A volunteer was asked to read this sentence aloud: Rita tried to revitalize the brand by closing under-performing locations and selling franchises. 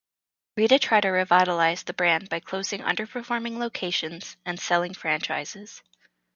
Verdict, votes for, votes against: accepted, 2, 0